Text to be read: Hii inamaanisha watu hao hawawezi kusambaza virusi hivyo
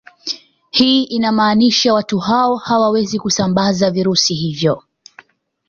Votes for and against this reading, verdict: 0, 2, rejected